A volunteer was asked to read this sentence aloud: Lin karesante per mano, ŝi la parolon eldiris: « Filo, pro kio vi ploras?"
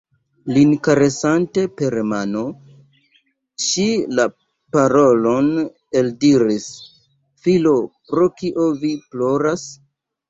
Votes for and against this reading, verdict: 2, 0, accepted